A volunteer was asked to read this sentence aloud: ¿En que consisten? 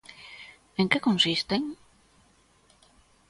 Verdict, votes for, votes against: accepted, 2, 0